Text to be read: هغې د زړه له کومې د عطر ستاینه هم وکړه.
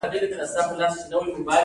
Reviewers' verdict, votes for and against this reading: accepted, 2, 0